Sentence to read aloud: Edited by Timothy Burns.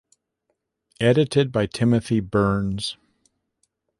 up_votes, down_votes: 2, 0